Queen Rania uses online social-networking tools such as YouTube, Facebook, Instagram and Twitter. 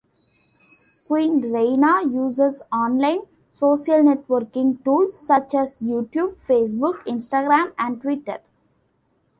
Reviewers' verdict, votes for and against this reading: accepted, 2, 0